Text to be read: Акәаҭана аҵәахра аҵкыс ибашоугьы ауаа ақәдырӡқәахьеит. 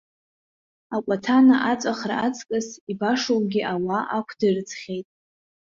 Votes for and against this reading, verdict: 1, 2, rejected